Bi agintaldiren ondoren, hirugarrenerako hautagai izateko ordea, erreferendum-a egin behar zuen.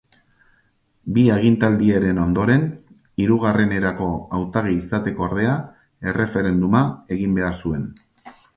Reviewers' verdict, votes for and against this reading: rejected, 2, 2